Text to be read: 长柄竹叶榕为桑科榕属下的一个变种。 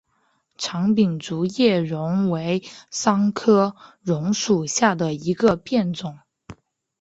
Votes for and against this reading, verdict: 4, 0, accepted